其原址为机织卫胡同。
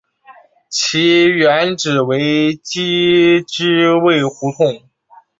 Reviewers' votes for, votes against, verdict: 2, 0, accepted